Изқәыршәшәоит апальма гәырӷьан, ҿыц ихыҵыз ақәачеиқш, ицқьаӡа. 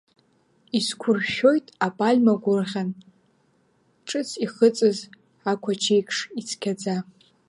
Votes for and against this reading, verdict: 0, 2, rejected